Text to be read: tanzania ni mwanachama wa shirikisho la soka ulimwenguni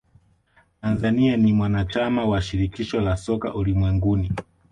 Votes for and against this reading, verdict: 1, 2, rejected